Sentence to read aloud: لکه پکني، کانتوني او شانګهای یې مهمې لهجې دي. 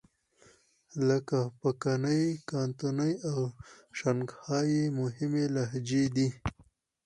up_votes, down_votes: 6, 0